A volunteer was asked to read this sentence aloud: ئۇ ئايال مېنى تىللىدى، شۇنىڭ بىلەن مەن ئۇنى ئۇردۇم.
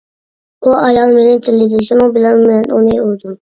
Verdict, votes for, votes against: rejected, 0, 2